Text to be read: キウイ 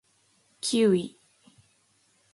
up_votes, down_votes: 2, 0